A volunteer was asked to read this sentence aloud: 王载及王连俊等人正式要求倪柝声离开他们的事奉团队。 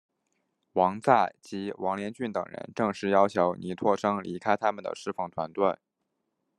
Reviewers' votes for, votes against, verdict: 2, 0, accepted